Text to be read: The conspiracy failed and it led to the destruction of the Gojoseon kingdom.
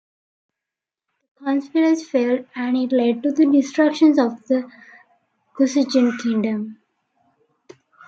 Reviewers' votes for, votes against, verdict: 0, 2, rejected